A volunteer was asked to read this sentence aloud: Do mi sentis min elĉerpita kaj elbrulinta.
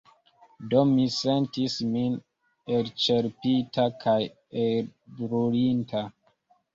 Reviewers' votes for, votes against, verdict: 1, 2, rejected